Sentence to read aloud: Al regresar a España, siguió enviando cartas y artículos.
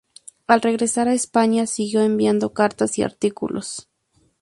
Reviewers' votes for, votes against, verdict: 2, 0, accepted